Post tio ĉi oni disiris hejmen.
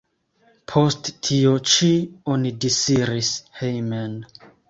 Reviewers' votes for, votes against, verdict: 2, 0, accepted